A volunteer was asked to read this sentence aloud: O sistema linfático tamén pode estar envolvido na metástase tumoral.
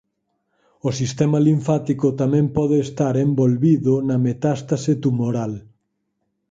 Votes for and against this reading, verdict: 4, 0, accepted